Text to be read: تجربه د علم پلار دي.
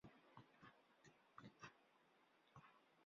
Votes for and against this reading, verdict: 0, 2, rejected